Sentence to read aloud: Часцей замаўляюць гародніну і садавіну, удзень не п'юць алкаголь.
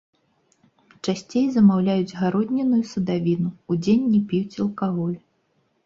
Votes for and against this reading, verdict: 0, 2, rejected